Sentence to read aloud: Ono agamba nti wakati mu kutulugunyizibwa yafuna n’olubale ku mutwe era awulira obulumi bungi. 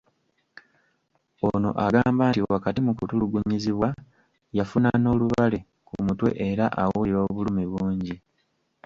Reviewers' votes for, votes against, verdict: 2, 0, accepted